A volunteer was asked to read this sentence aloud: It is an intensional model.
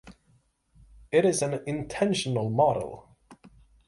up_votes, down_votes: 6, 0